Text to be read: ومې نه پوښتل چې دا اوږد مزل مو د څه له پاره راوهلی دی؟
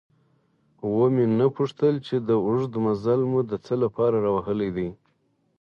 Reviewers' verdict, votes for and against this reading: accepted, 4, 0